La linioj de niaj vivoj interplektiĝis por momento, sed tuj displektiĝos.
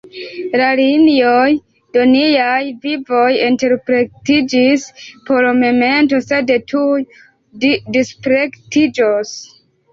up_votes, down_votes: 2, 4